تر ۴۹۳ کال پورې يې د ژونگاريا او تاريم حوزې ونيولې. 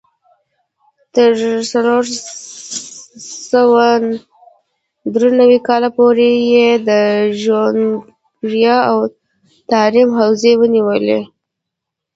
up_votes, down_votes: 0, 2